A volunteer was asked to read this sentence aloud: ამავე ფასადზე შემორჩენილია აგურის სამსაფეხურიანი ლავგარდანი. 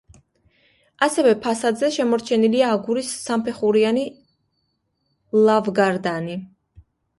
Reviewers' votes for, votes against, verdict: 1, 3, rejected